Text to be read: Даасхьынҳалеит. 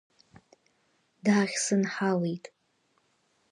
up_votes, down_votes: 1, 2